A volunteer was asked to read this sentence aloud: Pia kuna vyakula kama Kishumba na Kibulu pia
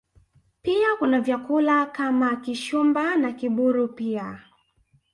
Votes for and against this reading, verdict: 2, 0, accepted